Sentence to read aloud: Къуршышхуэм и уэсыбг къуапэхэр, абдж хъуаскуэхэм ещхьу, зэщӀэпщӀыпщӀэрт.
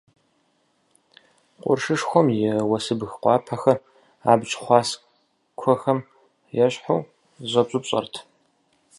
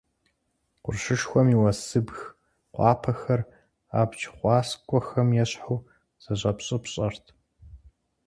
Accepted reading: second